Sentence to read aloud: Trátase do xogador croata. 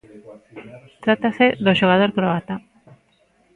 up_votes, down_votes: 1, 2